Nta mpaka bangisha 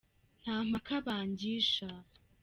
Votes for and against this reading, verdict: 2, 0, accepted